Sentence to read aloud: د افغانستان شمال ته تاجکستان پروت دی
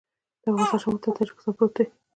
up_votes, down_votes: 1, 2